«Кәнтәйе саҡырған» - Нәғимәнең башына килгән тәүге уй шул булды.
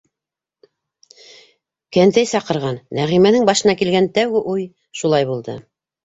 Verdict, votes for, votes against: rejected, 2, 3